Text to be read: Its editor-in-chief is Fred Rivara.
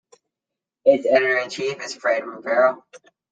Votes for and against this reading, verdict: 2, 0, accepted